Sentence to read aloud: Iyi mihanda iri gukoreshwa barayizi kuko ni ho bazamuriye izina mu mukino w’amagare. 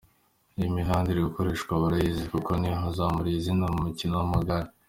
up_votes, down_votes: 2, 0